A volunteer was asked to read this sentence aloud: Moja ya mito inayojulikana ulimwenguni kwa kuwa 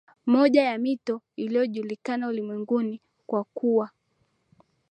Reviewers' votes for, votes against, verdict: 0, 2, rejected